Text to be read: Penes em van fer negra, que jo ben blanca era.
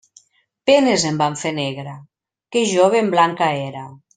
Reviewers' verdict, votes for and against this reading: accepted, 2, 0